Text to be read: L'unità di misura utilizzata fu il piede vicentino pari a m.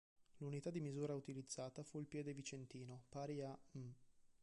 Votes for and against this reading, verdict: 1, 2, rejected